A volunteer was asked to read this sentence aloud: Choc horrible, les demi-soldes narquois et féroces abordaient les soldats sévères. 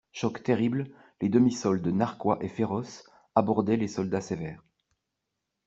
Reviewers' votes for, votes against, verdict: 0, 2, rejected